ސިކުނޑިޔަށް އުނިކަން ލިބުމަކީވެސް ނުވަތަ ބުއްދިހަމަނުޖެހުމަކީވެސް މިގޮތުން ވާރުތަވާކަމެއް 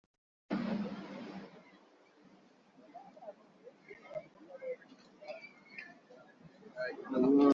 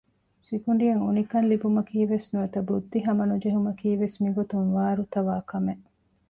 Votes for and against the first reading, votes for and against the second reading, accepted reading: 0, 2, 2, 0, second